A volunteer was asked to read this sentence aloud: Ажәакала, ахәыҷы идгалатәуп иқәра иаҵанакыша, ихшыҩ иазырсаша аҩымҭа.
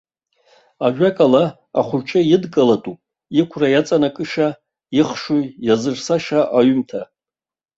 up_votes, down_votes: 1, 2